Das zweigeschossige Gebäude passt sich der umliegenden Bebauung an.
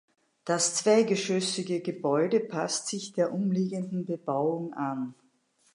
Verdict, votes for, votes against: rejected, 0, 2